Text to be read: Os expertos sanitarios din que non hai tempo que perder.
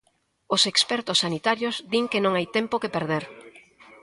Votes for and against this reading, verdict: 0, 2, rejected